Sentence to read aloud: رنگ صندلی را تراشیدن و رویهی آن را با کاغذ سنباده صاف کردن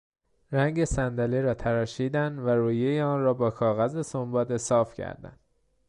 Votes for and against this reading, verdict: 2, 0, accepted